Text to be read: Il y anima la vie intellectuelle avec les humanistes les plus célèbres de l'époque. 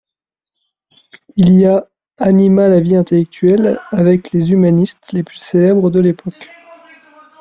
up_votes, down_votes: 0, 2